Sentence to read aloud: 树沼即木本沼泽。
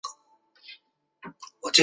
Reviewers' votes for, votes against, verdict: 0, 3, rejected